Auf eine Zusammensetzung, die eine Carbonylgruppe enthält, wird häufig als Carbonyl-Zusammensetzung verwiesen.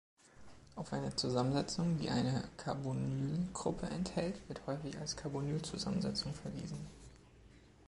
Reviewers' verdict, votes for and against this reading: accepted, 2, 1